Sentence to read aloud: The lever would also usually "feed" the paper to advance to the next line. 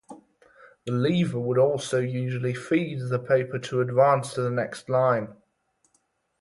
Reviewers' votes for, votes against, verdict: 4, 0, accepted